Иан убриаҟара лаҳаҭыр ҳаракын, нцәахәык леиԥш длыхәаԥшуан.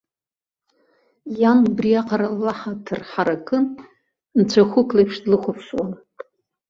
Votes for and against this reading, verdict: 2, 0, accepted